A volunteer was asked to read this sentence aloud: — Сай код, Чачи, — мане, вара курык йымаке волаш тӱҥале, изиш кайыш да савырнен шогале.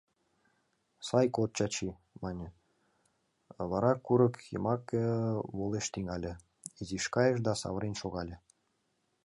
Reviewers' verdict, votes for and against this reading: rejected, 1, 2